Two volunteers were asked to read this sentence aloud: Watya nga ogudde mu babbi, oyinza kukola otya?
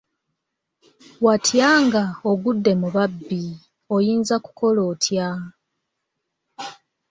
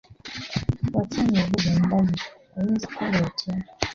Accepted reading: first